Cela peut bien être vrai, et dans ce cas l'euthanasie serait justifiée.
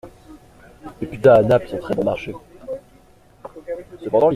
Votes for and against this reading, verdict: 0, 2, rejected